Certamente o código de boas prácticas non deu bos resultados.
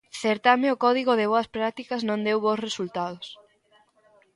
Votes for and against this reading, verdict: 0, 2, rejected